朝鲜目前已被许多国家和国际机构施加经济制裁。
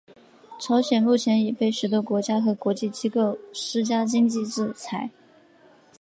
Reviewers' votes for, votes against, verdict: 2, 3, rejected